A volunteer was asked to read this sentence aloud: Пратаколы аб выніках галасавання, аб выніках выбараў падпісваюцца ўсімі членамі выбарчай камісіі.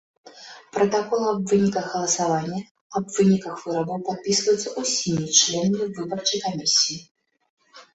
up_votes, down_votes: 0, 2